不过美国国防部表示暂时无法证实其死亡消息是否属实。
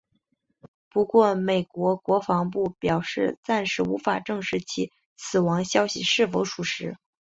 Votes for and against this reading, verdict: 4, 0, accepted